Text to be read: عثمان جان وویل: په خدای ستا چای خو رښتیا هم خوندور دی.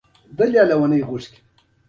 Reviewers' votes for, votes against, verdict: 1, 2, rejected